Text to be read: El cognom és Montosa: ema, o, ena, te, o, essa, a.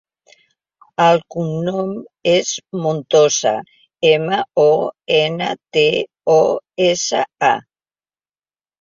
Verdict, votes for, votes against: accepted, 2, 1